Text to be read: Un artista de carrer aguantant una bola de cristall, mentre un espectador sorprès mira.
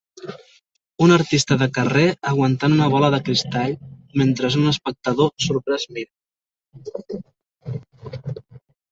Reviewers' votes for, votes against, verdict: 0, 2, rejected